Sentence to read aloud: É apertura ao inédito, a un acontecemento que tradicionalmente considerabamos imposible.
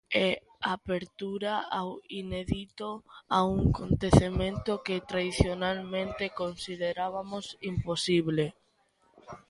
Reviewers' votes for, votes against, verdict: 0, 2, rejected